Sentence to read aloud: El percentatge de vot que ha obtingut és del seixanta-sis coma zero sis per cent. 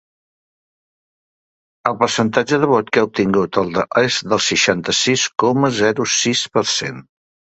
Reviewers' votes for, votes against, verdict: 1, 2, rejected